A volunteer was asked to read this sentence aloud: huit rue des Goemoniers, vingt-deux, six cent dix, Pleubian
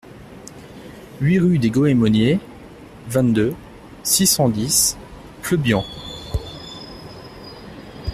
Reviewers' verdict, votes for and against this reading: accepted, 2, 0